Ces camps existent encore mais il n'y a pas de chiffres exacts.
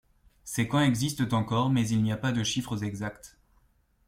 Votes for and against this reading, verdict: 2, 0, accepted